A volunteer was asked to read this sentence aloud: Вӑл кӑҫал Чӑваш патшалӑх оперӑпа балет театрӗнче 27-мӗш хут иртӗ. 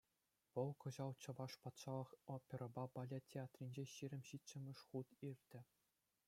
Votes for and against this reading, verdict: 0, 2, rejected